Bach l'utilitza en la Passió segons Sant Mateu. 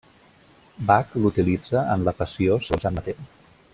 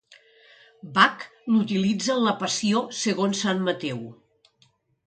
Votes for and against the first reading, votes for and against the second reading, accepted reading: 0, 2, 2, 0, second